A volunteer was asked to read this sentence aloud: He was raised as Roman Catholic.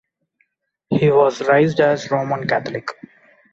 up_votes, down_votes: 2, 0